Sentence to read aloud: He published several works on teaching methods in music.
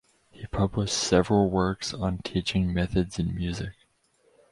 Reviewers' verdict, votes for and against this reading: rejected, 2, 4